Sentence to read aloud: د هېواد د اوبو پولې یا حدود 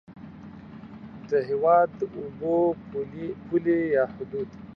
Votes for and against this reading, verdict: 2, 0, accepted